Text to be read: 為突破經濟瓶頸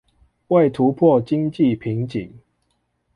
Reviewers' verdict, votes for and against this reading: accepted, 2, 0